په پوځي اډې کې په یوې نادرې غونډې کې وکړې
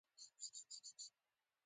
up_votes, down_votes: 1, 2